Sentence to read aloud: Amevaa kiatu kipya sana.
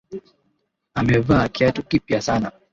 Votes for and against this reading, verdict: 2, 0, accepted